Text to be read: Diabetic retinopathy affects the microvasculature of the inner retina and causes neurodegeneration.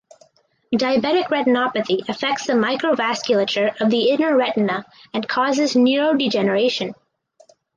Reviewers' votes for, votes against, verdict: 4, 0, accepted